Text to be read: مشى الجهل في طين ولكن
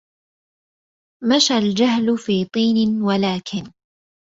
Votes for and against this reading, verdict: 2, 0, accepted